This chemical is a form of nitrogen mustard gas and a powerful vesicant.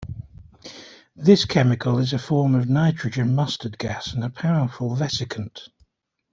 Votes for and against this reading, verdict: 2, 0, accepted